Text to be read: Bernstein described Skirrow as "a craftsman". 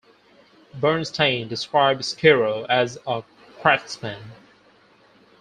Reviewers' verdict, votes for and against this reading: accepted, 4, 0